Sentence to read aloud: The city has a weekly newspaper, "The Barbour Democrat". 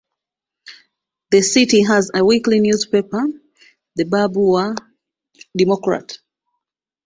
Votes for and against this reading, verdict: 2, 1, accepted